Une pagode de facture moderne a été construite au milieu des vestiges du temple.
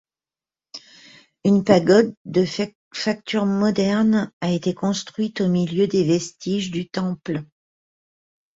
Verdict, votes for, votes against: accepted, 2, 1